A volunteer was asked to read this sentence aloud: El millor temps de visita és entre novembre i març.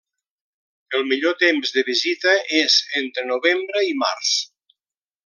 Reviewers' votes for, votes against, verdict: 3, 0, accepted